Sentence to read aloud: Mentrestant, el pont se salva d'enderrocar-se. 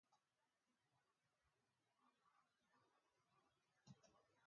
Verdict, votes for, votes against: rejected, 0, 2